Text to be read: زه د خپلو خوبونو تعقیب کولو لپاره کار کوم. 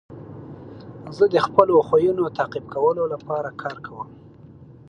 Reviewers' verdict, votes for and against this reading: rejected, 1, 4